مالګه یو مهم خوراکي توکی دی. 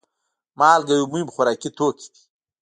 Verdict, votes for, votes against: rejected, 1, 2